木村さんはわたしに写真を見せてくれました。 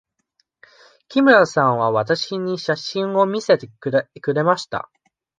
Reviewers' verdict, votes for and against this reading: rejected, 1, 2